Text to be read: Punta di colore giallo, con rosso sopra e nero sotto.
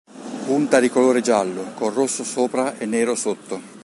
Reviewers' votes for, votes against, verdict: 2, 0, accepted